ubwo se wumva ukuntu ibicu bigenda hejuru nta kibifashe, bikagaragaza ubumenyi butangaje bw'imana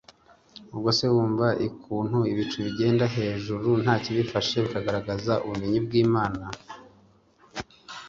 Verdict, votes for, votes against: rejected, 1, 2